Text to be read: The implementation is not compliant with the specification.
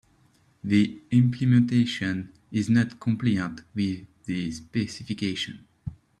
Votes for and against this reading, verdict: 0, 2, rejected